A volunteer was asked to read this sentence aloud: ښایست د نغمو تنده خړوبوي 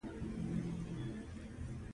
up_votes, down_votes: 0, 2